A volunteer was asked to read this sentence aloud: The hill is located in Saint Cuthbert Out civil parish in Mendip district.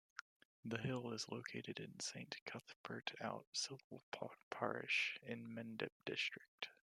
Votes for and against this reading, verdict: 0, 2, rejected